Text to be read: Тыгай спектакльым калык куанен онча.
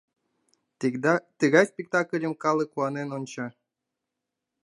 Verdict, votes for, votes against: rejected, 1, 2